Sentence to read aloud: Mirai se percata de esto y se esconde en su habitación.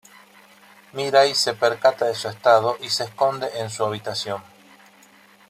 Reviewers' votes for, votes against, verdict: 0, 2, rejected